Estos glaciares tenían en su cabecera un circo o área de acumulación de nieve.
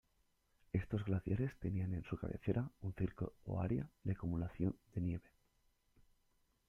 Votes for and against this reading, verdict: 1, 2, rejected